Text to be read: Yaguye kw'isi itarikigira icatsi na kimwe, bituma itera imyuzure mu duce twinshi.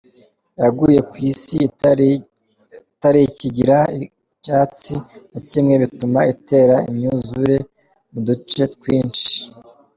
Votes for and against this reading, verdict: 1, 2, rejected